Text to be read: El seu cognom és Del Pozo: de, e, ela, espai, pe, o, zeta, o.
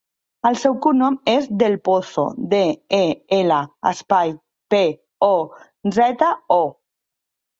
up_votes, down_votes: 2, 0